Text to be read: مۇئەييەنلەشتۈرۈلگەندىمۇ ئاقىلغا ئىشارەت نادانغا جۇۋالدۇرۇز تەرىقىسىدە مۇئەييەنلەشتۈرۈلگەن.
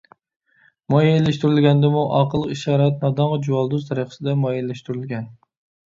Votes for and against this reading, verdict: 1, 2, rejected